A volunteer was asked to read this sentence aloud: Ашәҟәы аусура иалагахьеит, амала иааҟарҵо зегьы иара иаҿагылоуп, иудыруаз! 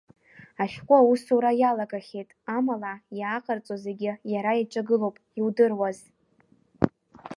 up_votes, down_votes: 1, 2